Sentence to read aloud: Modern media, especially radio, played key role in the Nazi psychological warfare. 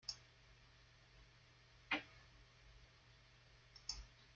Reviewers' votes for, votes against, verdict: 0, 2, rejected